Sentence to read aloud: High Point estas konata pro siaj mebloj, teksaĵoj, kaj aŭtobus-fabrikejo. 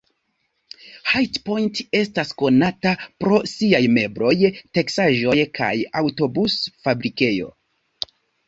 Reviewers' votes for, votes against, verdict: 2, 1, accepted